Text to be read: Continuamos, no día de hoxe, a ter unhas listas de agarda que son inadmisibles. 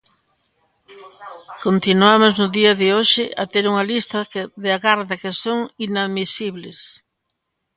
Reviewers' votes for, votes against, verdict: 0, 2, rejected